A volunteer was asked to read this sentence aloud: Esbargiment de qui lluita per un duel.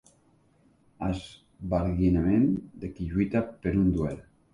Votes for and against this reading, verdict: 0, 2, rejected